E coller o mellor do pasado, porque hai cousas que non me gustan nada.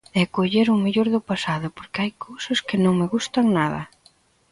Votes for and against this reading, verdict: 2, 0, accepted